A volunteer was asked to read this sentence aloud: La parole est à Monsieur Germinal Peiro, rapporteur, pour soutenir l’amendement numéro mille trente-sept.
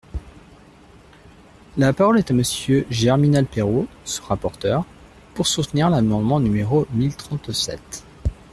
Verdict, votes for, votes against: rejected, 2, 3